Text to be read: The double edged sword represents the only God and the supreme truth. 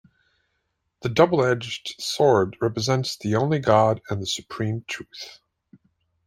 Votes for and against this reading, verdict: 2, 0, accepted